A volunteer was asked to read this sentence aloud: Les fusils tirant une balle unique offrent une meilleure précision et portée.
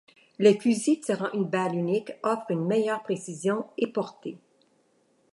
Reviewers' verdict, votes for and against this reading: accepted, 3, 0